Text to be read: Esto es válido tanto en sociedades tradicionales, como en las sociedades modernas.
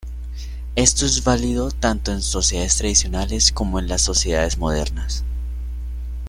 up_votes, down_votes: 2, 0